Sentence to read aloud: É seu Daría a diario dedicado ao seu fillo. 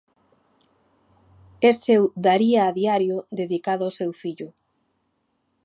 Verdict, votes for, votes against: accepted, 2, 0